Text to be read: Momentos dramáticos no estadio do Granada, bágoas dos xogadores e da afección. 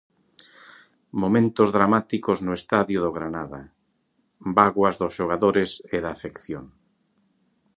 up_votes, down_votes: 2, 0